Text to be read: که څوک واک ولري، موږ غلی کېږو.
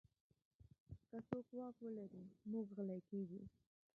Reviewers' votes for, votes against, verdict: 1, 2, rejected